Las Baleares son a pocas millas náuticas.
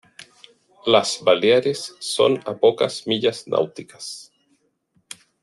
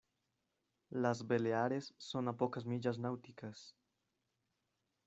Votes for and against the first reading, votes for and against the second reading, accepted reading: 2, 0, 0, 2, first